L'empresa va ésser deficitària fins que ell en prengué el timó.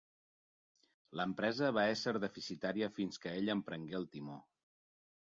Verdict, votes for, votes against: accepted, 9, 0